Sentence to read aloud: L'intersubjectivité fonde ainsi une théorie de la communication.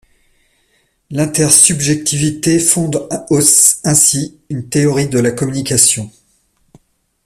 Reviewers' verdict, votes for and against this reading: rejected, 1, 2